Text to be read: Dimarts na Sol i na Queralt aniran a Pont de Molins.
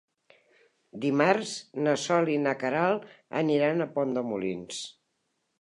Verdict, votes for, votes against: accepted, 3, 0